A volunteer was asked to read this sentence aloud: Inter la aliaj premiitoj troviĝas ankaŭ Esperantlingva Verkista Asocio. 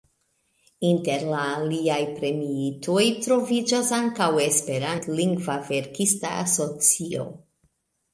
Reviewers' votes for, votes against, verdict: 2, 0, accepted